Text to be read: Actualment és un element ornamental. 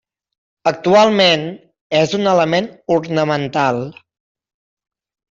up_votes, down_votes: 3, 0